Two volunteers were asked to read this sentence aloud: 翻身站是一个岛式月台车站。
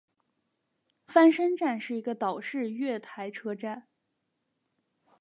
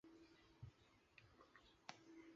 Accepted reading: first